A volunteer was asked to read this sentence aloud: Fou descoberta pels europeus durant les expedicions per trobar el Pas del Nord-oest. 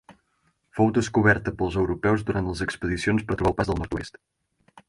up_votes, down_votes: 6, 4